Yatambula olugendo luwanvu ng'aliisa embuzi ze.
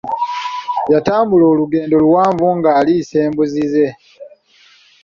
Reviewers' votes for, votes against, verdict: 2, 1, accepted